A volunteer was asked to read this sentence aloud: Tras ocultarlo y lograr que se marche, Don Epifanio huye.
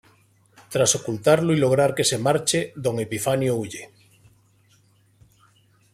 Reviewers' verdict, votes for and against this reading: accepted, 2, 0